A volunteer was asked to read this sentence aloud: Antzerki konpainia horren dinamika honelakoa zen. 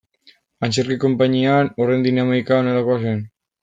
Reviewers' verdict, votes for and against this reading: rejected, 0, 2